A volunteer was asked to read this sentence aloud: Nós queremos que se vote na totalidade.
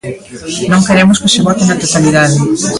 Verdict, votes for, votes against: rejected, 0, 3